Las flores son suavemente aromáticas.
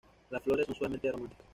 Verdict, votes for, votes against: rejected, 1, 2